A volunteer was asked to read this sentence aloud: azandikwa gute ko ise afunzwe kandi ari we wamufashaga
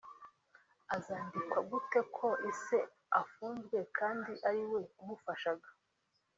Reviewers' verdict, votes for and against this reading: rejected, 2, 3